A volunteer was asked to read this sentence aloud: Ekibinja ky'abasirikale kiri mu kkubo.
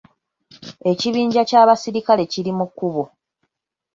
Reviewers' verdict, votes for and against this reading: rejected, 1, 2